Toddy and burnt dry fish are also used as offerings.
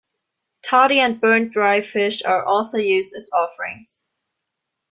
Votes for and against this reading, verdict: 2, 0, accepted